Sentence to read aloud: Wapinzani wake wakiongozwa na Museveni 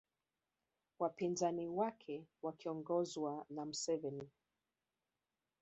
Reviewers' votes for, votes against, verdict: 3, 0, accepted